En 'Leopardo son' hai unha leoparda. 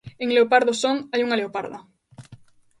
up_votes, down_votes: 2, 0